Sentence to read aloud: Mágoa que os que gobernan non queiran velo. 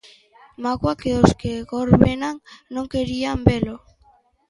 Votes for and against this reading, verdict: 0, 2, rejected